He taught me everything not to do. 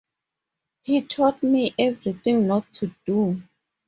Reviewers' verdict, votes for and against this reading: accepted, 8, 2